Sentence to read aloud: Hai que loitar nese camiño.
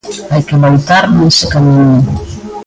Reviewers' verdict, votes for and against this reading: rejected, 0, 2